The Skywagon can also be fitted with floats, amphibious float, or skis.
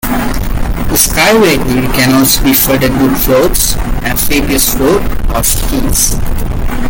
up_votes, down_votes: 1, 2